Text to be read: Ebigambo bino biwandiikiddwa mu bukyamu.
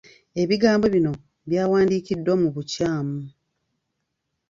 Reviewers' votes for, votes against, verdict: 1, 2, rejected